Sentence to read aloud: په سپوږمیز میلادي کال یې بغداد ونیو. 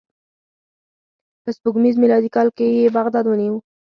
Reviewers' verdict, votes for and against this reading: rejected, 2, 4